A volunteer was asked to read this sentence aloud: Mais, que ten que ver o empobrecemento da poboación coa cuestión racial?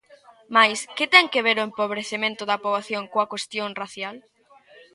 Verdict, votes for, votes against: rejected, 1, 2